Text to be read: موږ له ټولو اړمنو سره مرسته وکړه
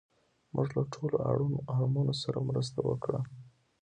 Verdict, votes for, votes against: rejected, 1, 2